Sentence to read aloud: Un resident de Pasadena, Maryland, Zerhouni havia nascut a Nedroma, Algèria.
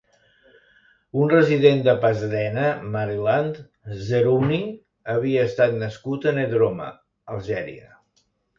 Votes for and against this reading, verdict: 2, 1, accepted